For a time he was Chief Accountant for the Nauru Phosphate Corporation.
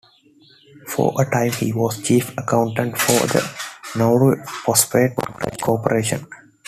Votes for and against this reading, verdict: 2, 1, accepted